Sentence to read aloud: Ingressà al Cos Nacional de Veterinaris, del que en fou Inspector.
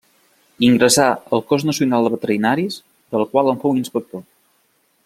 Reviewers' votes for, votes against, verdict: 0, 2, rejected